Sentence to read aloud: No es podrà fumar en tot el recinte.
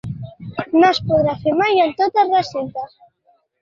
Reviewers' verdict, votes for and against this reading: rejected, 0, 2